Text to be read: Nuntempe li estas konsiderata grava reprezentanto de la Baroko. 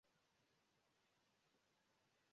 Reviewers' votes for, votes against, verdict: 0, 2, rejected